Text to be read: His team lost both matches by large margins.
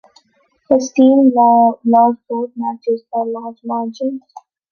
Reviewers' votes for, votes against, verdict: 0, 2, rejected